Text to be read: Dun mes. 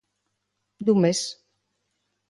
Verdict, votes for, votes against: accepted, 2, 0